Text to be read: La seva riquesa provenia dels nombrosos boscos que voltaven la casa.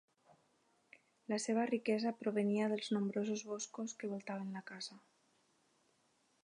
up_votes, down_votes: 4, 0